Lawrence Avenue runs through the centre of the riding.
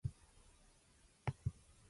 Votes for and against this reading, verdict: 0, 2, rejected